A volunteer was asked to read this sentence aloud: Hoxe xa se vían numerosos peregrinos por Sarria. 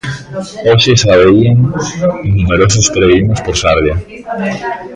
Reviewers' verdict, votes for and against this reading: rejected, 0, 2